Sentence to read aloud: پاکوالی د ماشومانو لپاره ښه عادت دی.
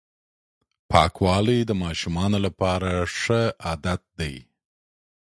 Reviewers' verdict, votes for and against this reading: accepted, 2, 0